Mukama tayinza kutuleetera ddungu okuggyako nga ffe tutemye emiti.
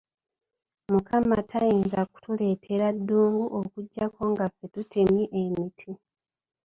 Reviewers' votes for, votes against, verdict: 2, 0, accepted